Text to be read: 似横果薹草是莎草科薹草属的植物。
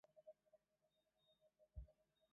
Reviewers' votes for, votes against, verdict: 0, 2, rejected